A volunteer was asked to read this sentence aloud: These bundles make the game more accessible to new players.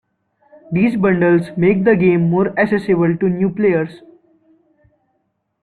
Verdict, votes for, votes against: rejected, 1, 2